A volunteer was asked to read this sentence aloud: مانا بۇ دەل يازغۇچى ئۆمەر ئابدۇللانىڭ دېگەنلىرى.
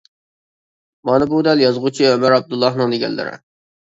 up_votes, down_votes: 2, 1